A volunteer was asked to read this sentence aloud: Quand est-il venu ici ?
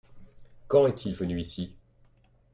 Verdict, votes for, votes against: accepted, 2, 0